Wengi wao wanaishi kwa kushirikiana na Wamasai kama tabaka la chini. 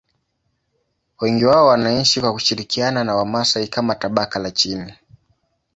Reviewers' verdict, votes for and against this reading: rejected, 0, 2